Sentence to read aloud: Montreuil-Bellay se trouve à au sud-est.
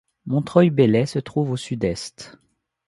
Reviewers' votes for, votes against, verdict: 0, 2, rejected